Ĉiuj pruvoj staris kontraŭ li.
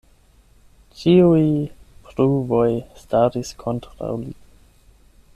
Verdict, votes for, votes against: accepted, 8, 4